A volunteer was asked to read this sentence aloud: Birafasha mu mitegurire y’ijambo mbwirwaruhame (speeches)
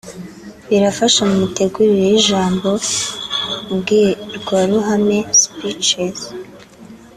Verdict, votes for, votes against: accepted, 2, 0